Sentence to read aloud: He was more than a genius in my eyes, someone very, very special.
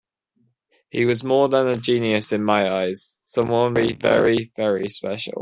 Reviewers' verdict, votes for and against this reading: rejected, 1, 2